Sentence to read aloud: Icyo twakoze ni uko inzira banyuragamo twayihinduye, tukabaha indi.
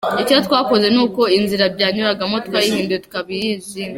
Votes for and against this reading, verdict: 1, 2, rejected